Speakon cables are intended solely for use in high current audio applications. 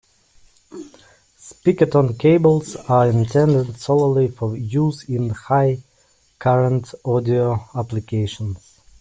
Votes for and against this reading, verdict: 0, 2, rejected